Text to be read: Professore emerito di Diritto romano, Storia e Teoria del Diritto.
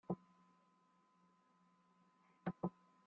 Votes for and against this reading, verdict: 0, 2, rejected